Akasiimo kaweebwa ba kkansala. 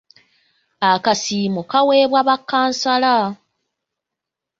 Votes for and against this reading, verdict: 3, 0, accepted